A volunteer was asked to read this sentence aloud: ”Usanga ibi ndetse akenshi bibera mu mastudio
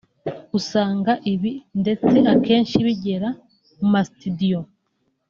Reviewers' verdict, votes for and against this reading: rejected, 1, 2